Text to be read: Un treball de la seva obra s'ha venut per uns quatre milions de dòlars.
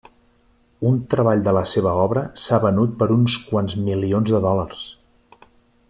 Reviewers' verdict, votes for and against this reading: rejected, 0, 2